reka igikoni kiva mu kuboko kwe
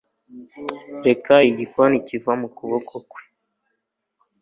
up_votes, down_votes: 3, 0